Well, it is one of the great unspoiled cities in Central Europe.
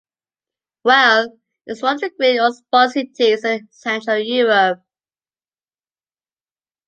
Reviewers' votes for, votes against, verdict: 1, 2, rejected